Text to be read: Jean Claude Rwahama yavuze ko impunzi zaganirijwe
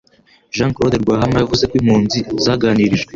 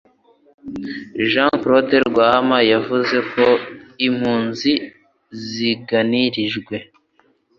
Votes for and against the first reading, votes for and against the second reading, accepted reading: 2, 0, 0, 2, first